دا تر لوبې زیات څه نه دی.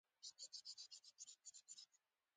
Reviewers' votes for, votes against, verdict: 1, 2, rejected